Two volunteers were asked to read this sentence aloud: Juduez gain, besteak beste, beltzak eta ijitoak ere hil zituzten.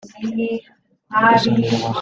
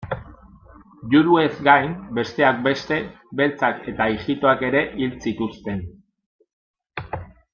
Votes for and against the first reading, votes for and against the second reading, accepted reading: 0, 2, 2, 0, second